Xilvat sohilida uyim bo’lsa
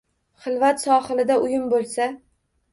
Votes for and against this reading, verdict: 1, 2, rejected